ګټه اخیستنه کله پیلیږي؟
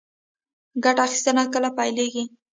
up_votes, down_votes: 1, 2